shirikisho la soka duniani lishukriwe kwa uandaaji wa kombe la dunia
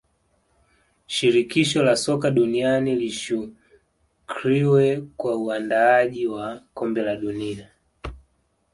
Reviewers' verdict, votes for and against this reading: accepted, 2, 1